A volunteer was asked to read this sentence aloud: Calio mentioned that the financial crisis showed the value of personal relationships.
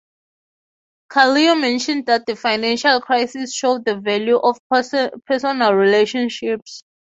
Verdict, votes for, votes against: rejected, 0, 6